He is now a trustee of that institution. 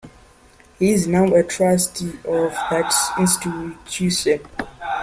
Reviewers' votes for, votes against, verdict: 1, 2, rejected